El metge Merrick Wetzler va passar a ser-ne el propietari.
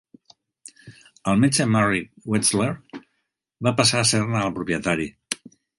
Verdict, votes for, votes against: accepted, 2, 0